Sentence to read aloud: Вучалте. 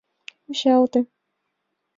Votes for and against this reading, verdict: 2, 0, accepted